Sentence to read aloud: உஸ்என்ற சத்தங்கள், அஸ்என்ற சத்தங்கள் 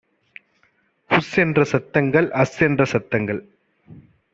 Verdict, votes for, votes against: accepted, 2, 0